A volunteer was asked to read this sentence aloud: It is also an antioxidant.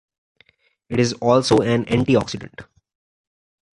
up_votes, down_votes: 2, 0